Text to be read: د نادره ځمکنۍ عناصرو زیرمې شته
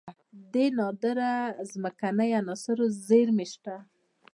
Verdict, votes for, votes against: rejected, 0, 2